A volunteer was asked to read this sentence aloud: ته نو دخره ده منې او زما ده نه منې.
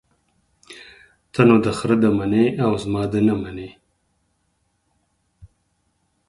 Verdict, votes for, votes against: accepted, 6, 0